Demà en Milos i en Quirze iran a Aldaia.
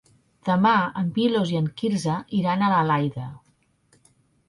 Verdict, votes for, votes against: rejected, 0, 2